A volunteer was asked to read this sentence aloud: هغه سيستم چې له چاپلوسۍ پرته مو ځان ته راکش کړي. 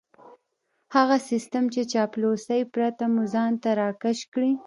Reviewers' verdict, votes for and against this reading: accepted, 2, 1